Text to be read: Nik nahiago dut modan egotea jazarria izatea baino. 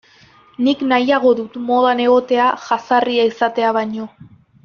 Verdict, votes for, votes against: accepted, 3, 0